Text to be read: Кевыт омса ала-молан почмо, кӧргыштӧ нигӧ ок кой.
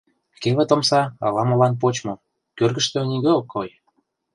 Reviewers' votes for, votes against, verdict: 2, 0, accepted